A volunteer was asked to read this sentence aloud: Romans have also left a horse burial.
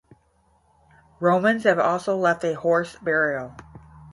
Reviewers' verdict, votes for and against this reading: rejected, 0, 5